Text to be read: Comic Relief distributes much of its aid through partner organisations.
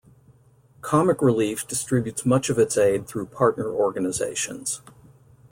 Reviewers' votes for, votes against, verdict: 2, 0, accepted